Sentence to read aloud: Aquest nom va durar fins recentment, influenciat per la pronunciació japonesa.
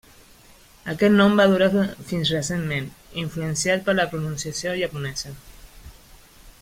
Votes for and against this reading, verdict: 0, 2, rejected